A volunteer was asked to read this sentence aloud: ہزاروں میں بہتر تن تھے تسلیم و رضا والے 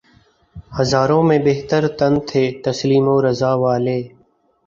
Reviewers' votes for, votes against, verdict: 2, 0, accepted